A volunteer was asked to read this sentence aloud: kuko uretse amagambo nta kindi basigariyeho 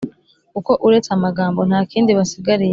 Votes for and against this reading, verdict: 1, 3, rejected